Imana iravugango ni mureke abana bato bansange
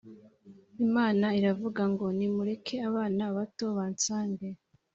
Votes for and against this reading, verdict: 2, 0, accepted